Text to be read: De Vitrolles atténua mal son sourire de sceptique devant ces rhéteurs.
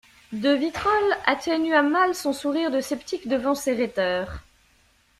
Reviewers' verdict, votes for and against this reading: accepted, 2, 0